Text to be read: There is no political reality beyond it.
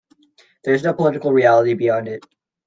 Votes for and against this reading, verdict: 0, 2, rejected